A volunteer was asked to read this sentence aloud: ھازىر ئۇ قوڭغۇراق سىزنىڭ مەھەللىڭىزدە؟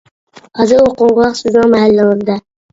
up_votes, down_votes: 0, 2